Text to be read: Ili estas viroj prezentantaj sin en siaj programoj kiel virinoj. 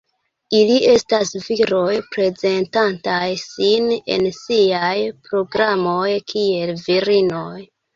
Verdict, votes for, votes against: rejected, 0, 2